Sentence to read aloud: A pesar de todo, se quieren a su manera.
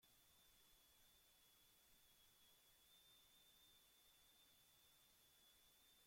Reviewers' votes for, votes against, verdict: 1, 2, rejected